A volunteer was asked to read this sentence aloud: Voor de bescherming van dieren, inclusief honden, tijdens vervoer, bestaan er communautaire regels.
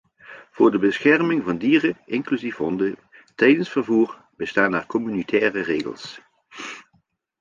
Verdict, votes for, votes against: accepted, 2, 0